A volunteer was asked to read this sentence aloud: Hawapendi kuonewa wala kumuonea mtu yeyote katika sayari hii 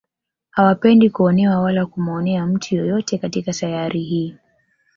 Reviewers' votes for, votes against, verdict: 2, 0, accepted